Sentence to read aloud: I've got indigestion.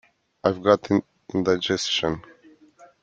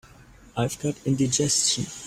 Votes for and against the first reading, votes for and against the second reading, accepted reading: 0, 2, 2, 0, second